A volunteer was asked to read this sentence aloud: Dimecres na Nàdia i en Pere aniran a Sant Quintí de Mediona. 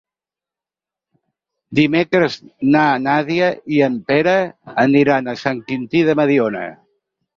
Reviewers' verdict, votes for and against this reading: accepted, 6, 0